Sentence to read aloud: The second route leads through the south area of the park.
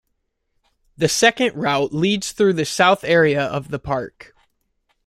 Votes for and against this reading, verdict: 2, 1, accepted